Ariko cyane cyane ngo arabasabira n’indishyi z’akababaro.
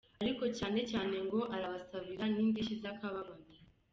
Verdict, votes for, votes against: accepted, 2, 0